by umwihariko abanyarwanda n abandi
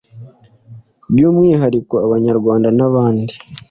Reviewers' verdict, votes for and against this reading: accepted, 2, 0